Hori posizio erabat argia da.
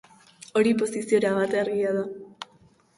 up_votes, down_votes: 2, 0